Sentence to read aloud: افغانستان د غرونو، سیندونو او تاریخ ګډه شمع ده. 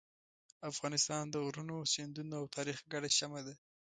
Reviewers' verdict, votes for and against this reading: accepted, 2, 0